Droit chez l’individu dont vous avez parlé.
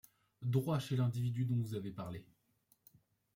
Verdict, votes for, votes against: accepted, 2, 0